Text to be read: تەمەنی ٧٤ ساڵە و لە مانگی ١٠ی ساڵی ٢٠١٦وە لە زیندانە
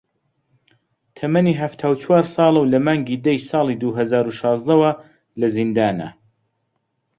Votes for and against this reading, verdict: 0, 2, rejected